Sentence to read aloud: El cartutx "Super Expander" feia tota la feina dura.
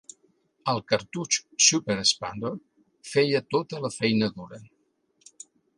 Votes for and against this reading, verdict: 2, 0, accepted